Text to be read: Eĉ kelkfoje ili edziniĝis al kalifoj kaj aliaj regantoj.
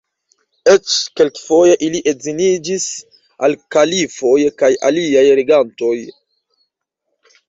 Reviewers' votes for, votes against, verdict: 2, 0, accepted